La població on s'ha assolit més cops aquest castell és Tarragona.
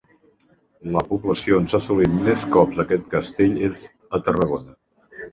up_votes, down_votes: 0, 2